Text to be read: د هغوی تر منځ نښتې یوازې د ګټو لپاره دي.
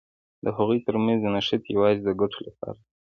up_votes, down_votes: 3, 0